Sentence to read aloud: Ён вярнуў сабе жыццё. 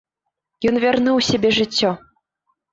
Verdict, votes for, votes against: rejected, 1, 2